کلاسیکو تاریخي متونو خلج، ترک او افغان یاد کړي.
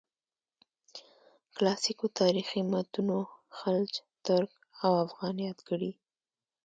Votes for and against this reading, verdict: 2, 0, accepted